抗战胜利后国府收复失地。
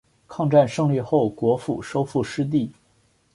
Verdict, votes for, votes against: accepted, 2, 0